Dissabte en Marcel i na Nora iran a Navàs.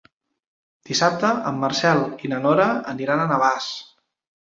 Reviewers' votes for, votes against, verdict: 1, 2, rejected